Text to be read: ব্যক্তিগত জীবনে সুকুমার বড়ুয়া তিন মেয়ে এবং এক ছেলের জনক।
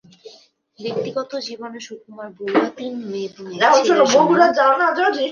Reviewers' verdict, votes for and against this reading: rejected, 0, 2